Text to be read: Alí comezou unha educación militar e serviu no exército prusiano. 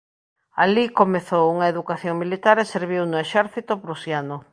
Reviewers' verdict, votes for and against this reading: accepted, 2, 0